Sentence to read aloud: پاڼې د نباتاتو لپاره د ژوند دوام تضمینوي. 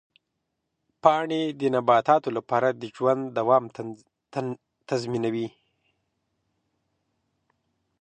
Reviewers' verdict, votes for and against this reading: rejected, 1, 2